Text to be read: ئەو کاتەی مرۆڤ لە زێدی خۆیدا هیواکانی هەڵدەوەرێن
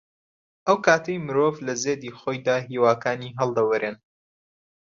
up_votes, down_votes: 2, 0